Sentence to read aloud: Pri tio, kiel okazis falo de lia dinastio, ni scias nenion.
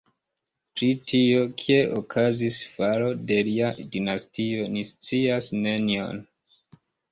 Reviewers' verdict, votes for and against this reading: accepted, 2, 0